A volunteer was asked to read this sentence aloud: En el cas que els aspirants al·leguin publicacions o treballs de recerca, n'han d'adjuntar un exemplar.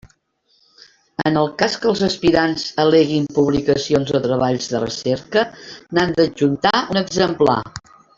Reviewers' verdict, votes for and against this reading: rejected, 0, 2